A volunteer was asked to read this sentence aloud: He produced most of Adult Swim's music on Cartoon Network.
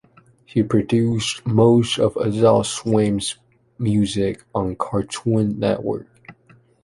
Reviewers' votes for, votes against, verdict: 2, 0, accepted